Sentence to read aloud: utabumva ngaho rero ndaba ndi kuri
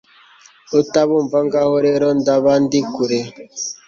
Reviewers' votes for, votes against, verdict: 2, 0, accepted